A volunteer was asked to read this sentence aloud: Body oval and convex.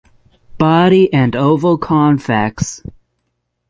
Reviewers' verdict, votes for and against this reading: rejected, 0, 3